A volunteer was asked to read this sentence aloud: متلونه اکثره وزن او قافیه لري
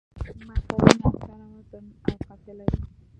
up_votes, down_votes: 0, 2